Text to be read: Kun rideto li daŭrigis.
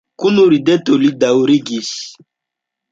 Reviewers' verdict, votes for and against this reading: rejected, 1, 2